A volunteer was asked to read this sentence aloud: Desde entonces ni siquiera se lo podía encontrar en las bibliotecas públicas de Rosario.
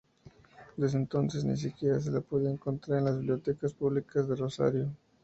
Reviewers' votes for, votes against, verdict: 0, 2, rejected